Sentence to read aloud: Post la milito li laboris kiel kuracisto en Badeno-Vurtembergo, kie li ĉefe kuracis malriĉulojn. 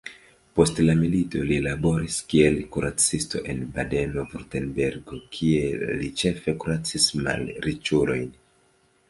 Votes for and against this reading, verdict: 0, 2, rejected